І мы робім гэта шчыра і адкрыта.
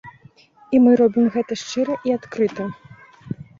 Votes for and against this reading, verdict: 5, 1, accepted